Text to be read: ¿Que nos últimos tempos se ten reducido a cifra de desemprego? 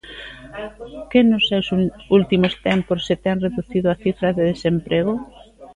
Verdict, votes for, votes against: rejected, 0, 2